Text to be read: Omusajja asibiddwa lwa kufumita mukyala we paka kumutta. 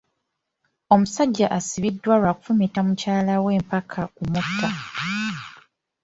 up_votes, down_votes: 2, 0